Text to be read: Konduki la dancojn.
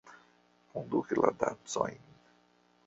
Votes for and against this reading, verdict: 0, 2, rejected